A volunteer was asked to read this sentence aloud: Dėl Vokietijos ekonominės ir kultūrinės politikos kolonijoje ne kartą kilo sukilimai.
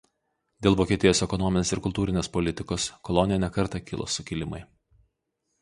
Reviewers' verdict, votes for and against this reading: rejected, 0, 2